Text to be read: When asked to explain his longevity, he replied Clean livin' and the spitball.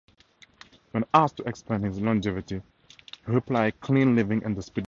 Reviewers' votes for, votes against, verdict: 0, 2, rejected